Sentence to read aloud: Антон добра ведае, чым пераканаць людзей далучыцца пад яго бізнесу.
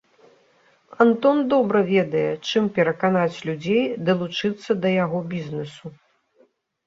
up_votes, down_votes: 0, 2